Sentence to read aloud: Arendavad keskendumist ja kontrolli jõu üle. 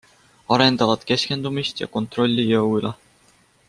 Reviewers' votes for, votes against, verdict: 2, 0, accepted